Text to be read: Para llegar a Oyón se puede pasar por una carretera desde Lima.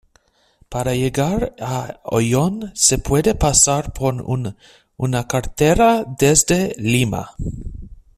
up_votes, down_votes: 0, 2